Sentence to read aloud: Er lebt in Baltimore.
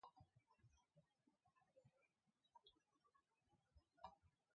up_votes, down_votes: 0, 2